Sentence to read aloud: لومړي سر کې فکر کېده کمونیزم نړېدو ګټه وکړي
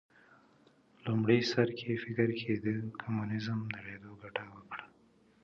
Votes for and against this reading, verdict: 2, 0, accepted